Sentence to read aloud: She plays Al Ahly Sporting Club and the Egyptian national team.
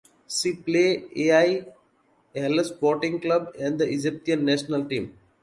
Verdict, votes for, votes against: rejected, 1, 2